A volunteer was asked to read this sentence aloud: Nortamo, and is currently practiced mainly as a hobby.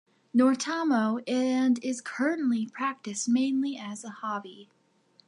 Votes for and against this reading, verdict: 2, 0, accepted